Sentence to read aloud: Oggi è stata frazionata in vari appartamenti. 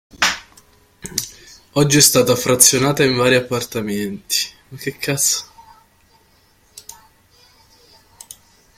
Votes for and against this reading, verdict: 0, 3, rejected